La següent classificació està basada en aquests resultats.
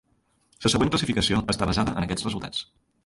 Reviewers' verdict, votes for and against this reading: rejected, 0, 2